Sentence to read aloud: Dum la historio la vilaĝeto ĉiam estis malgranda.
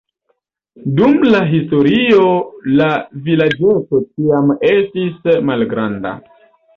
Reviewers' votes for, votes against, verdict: 2, 1, accepted